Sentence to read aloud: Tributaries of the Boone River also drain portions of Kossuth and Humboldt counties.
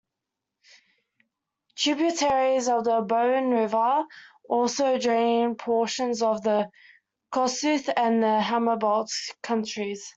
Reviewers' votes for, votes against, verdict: 0, 2, rejected